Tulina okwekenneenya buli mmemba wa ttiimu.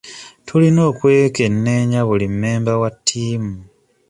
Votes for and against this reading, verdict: 2, 0, accepted